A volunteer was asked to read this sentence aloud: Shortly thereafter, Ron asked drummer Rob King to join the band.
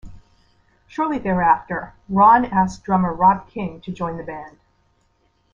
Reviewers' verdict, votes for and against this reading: accepted, 2, 0